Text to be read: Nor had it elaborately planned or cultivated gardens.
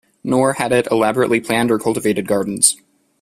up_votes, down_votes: 2, 0